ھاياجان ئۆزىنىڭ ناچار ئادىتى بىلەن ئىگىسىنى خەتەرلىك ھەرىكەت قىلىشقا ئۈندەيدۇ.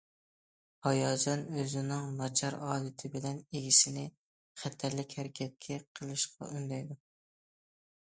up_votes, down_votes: 1, 2